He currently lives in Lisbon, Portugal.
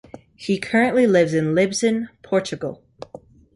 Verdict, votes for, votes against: rejected, 1, 2